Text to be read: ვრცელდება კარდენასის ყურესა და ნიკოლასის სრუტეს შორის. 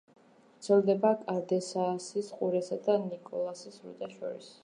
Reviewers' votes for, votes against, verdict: 0, 2, rejected